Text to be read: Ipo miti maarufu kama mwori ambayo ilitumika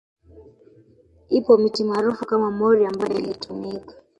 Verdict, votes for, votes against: rejected, 1, 2